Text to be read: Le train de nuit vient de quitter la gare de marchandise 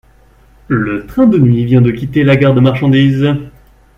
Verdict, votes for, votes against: accepted, 4, 0